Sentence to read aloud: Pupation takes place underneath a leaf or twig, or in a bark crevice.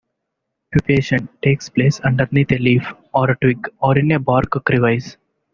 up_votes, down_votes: 1, 2